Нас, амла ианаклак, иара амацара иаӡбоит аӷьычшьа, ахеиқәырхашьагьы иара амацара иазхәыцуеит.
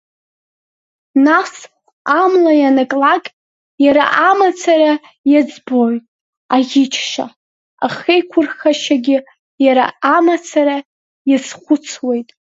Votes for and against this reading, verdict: 2, 0, accepted